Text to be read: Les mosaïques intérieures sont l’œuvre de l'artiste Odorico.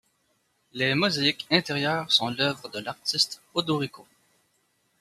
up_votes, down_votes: 2, 0